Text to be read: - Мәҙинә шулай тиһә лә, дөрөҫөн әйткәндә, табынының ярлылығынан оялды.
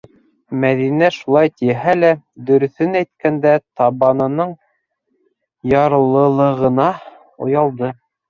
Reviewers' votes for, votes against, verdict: 0, 2, rejected